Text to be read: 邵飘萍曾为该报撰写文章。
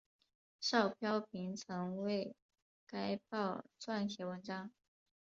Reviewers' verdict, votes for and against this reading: accepted, 5, 0